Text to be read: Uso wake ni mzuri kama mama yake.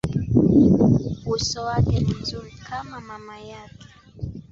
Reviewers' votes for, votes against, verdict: 0, 2, rejected